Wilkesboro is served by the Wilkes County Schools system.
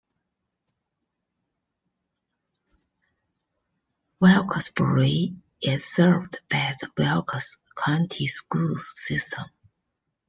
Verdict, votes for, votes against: rejected, 1, 2